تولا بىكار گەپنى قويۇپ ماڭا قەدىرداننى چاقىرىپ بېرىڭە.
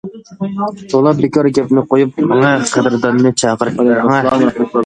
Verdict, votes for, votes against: rejected, 0, 2